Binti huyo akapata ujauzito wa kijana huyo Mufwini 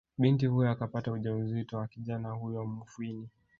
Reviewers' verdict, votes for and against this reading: rejected, 2, 3